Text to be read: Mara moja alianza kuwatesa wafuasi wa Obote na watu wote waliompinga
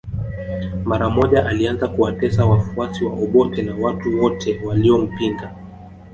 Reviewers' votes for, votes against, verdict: 2, 0, accepted